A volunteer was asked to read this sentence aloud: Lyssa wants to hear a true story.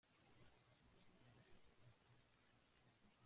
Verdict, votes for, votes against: rejected, 0, 2